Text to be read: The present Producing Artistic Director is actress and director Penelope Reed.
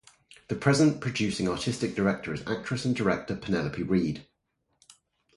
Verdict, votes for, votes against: accepted, 2, 0